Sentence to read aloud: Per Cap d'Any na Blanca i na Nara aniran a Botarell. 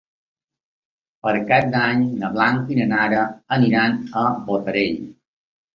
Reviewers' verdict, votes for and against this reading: accepted, 2, 0